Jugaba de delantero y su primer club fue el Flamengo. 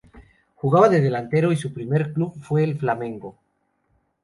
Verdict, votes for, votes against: accepted, 2, 0